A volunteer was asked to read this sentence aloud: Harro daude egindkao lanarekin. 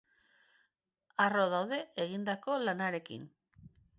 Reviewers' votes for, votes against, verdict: 1, 2, rejected